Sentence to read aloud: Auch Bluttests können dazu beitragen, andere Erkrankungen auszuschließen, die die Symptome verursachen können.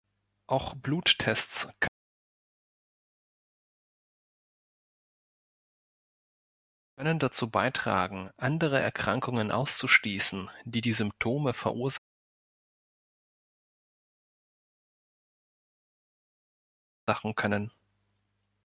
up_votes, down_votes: 1, 2